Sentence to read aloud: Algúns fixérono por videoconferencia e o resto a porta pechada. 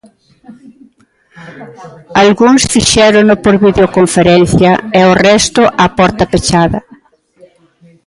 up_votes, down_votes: 2, 0